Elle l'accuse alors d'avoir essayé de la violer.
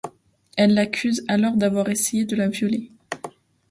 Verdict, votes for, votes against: accepted, 2, 0